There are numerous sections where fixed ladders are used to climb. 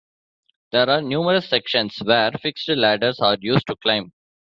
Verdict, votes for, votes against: rejected, 0, 2